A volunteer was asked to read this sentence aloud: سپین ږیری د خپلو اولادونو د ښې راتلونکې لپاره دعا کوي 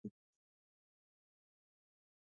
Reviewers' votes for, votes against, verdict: 1, 2, rejected